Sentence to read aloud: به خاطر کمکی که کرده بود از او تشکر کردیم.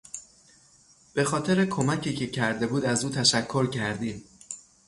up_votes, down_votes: 3, 3